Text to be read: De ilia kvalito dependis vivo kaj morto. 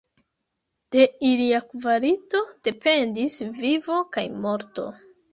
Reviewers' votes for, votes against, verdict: 0, 2, rejected